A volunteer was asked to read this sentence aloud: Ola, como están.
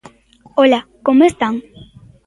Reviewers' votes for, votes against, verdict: 2, 0, accepted